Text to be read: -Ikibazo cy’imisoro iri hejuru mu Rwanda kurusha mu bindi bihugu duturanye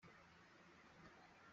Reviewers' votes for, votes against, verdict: 0, 2, rejected